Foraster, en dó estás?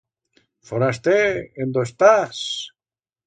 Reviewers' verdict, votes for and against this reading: accepted, 2, 0